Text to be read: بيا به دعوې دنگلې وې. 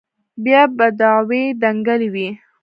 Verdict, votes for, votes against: rejected, 1, 2